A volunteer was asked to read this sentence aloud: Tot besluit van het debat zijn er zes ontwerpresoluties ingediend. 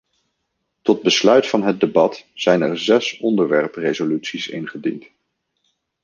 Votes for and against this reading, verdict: 1, 2, rejected